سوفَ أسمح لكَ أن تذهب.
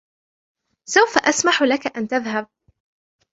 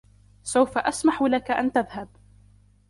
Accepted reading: first